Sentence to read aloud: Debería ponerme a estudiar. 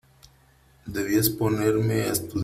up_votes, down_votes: 0, 3